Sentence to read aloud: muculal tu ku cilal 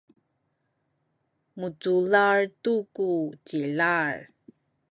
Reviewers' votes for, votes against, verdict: 1, 2, rejected